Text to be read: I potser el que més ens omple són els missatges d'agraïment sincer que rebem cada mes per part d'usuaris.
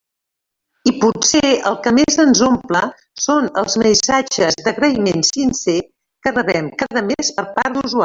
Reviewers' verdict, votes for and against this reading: accepted, 2, 0